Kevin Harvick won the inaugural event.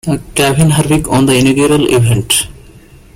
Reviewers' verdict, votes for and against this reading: rejected, 0, 2